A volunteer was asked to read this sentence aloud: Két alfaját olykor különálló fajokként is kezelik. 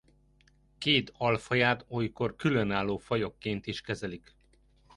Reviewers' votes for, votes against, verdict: 2, 0, accepted